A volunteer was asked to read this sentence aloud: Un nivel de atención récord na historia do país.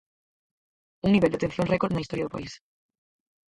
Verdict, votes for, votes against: rejected, 2, 4